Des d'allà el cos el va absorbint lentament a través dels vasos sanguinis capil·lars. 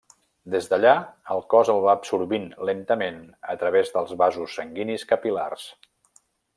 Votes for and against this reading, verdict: 2, 0, accepted